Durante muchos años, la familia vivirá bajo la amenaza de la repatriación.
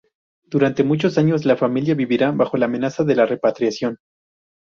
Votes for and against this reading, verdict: 4, 0, accepted